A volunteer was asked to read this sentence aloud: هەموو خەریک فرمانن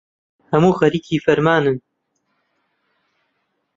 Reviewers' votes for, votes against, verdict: 1, 2, rejected